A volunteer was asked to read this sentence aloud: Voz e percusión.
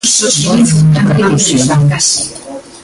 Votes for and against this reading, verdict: 0, 2, rejected